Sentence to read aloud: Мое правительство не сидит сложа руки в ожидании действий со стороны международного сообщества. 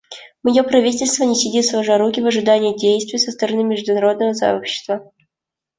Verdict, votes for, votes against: accepted, 2, 0